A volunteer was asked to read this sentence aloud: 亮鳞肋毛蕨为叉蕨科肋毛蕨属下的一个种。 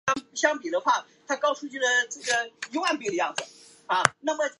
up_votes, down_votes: 4, 2